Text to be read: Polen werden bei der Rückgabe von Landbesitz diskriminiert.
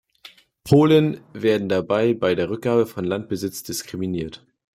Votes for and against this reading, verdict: 0, 2, rejected